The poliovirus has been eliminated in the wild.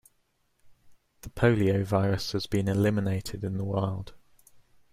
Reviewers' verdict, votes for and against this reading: accepted, 2, 0